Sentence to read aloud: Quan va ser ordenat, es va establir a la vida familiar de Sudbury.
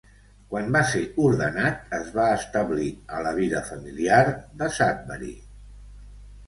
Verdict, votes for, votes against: accepted, 2, 0